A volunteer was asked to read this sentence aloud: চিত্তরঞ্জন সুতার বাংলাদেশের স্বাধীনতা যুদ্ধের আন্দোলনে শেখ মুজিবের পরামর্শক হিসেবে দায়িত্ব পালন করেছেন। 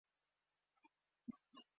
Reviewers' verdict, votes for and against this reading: rejected, 2, 5